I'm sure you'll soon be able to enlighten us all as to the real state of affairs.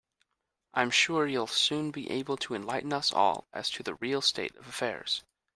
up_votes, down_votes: 2, 0